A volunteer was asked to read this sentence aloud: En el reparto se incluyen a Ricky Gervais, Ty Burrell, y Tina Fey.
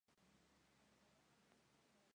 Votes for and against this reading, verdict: 0, 2, rejected